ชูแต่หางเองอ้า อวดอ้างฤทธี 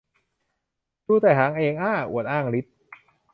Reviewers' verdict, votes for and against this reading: rejected, 0, 2